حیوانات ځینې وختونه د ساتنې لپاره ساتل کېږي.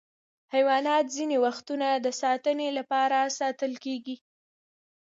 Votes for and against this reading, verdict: 1, 2, rejected